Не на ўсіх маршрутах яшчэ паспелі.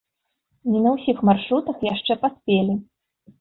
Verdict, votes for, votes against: accepted, 2, 0